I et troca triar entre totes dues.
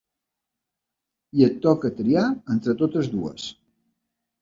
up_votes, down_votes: 2, 0